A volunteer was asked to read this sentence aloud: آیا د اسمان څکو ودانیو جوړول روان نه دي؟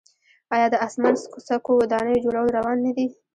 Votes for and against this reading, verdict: 2, 1, accepted